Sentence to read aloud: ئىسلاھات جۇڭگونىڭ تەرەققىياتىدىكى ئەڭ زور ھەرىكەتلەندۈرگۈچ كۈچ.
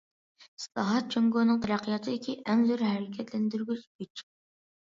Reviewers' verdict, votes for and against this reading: accepted, 2, 1